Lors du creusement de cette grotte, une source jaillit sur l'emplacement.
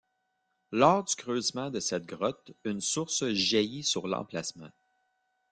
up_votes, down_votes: 1, 3